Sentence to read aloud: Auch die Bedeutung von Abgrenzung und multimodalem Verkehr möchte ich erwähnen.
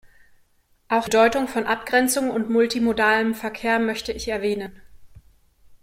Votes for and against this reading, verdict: 1, 2, rejected